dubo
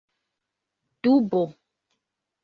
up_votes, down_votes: 3, 1